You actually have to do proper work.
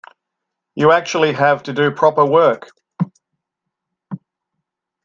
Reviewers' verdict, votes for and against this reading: accepted, 2, 0